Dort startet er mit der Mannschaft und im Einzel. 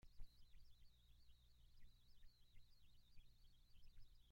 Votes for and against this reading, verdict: 0, 2, rejected